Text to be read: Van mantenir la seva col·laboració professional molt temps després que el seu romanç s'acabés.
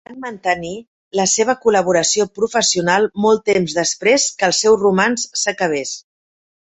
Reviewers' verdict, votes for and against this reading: rejected, 1, 2